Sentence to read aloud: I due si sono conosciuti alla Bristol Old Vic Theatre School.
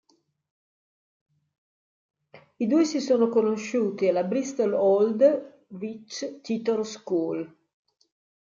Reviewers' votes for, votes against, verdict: 0, 2, rejected